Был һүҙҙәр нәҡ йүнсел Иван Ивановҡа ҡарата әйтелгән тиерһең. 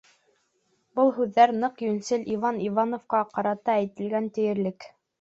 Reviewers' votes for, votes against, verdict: 0, 2, rejected